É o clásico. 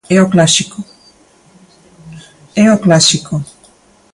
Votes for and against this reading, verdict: 0, 2, rejected